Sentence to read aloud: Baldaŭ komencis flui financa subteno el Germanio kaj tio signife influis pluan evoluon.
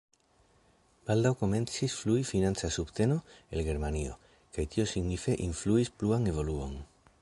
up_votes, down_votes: 2, 0